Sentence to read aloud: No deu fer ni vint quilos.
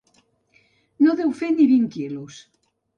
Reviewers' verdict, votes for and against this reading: accepted, 3, 0